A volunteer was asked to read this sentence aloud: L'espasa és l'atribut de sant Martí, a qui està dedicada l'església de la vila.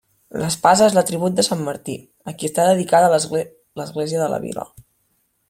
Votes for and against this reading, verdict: 3, 1, accepted